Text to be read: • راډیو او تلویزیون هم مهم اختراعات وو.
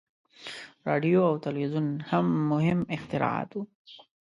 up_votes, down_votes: 2, 0